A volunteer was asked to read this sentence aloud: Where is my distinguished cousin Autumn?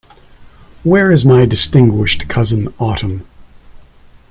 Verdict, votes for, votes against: accepted, 2, 0